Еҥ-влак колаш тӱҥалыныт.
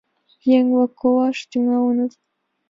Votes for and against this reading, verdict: 2, 0, accepted